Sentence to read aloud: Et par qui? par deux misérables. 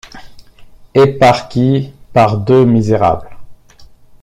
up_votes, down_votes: 2, 0